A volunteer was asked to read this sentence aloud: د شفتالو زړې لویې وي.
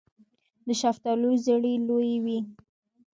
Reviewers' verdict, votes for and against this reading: rejected, 1, 2